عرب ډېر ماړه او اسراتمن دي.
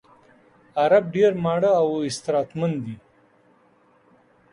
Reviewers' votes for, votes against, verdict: 1, 2, rejected